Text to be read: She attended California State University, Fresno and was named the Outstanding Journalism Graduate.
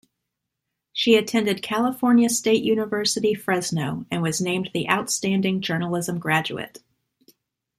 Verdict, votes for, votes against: accepted, 2, 0